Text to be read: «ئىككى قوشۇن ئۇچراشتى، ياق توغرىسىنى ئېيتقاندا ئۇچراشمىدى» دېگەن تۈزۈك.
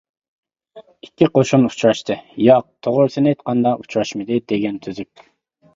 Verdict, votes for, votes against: accepted, 2, 0